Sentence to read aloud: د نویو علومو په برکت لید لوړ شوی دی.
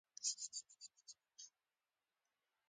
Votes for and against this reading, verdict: 0, 2, rejected